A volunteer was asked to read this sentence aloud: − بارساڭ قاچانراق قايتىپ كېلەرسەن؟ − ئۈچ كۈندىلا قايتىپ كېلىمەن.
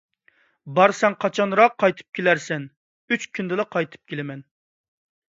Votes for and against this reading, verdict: 2, 0, accepted